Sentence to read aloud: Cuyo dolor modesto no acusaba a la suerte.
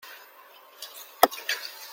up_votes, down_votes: 0, 2